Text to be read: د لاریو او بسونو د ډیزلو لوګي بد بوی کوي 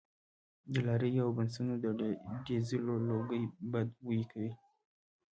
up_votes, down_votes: 1, 2